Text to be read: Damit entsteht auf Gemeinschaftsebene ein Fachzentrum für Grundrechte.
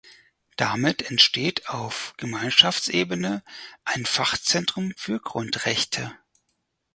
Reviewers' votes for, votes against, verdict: 4, 0, accepted